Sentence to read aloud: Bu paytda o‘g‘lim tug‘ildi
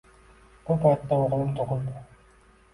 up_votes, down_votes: 1, 2